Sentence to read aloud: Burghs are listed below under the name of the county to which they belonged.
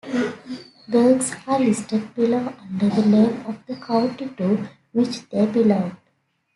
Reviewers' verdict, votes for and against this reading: accepted, 2, 1